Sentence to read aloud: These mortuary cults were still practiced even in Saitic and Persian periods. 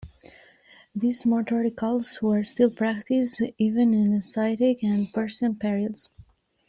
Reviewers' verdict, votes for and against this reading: accepted, 2, 0